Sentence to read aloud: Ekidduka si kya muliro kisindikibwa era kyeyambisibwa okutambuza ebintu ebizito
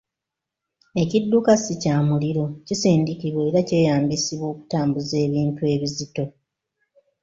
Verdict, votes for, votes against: accepted, 2, 1